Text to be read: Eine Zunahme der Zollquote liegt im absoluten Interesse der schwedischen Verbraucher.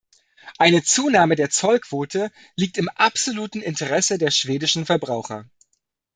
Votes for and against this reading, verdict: 2, 0, accepted